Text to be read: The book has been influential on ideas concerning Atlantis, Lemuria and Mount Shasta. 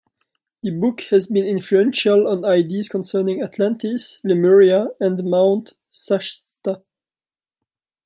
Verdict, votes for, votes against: rejected, 1, 2